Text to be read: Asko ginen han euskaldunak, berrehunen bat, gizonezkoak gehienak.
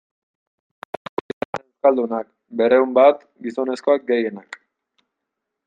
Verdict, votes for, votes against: rejected, 0, 2